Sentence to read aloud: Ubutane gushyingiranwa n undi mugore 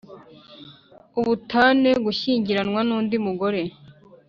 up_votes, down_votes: 2, 0